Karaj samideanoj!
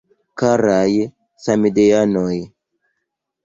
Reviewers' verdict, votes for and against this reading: accepted, 2, 0